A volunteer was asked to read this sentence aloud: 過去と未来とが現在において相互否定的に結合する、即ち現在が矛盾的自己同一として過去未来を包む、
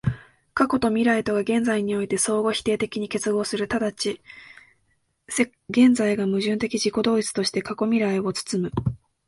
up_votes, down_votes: 0, 2